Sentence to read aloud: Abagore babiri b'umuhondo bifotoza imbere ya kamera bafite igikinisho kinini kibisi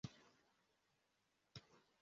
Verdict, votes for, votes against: rejected, 0, 2